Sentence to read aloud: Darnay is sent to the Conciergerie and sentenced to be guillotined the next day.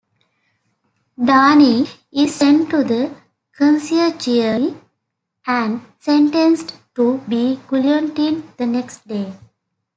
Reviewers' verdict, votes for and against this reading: rejected, 0, 2